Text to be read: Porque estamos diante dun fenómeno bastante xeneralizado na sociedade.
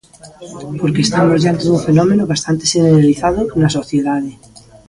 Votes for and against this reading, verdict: 2, 0, accepted